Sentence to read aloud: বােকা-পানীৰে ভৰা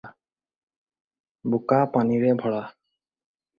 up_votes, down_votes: 4, 0